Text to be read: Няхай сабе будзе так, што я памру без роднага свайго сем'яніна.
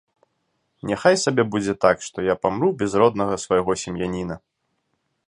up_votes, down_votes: 2, 1